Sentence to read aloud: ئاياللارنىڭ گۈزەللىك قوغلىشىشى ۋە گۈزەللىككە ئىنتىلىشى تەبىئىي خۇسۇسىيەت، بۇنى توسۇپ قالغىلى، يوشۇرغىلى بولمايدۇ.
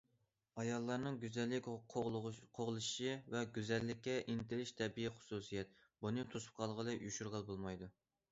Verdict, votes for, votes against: rejected, 0, 2